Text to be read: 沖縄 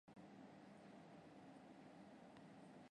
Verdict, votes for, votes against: rejected, 1, 2